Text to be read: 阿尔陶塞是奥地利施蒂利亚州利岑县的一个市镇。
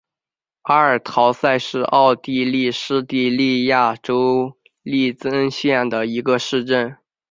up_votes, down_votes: 1, 2